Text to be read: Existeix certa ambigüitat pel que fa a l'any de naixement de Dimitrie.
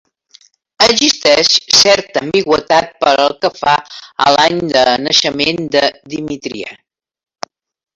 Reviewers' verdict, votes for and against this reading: rejected, 0, 2